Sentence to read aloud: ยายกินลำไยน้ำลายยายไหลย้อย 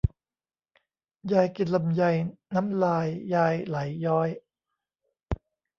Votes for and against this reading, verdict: 1, 2, rejected